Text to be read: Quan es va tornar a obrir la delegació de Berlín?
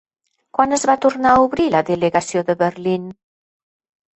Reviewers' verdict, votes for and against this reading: accepted, 4, 0